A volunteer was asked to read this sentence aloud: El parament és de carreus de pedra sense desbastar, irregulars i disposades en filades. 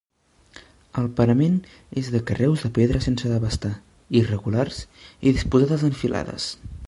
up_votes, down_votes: 1, 2